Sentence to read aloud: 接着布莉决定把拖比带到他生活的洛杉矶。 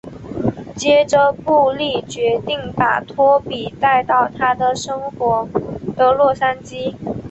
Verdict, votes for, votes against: accepted, 7, 2